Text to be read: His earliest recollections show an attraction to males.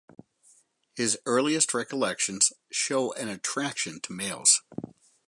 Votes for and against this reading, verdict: 4, 0, accepted